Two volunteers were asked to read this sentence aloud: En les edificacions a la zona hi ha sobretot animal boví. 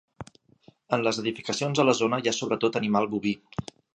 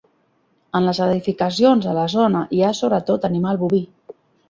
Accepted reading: first